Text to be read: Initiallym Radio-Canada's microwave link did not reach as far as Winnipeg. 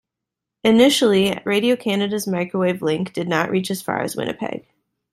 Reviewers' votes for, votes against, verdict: 0, 2, rejected